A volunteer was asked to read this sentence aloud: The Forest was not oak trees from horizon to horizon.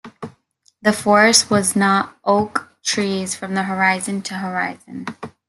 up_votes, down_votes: 1, 2